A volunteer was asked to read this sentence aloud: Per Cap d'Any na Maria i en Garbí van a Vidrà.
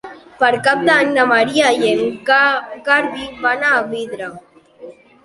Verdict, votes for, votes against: rejected, 1, 2